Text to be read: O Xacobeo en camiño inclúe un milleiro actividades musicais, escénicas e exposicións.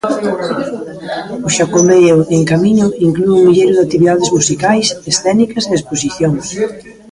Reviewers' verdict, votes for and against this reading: rejected, 1, 2